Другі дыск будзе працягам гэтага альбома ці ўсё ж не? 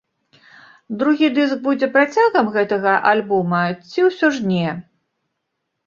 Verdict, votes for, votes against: accepted, 2, 0